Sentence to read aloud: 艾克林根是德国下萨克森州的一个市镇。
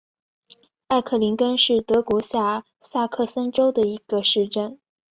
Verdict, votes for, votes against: accepted, 2, 0